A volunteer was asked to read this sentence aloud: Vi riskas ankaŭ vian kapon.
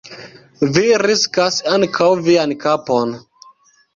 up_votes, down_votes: 1, 2